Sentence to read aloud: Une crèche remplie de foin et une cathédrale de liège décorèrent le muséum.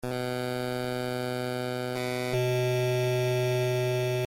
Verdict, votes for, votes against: rejected, 0, 2